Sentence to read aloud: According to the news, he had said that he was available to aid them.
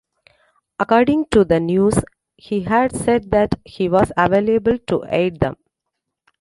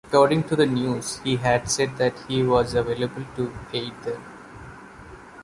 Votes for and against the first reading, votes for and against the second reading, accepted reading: 1, 2, 2, 0, second